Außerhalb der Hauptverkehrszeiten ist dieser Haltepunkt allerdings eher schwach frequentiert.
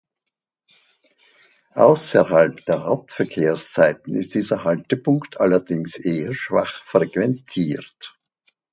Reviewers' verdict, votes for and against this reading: accepted, 2, 0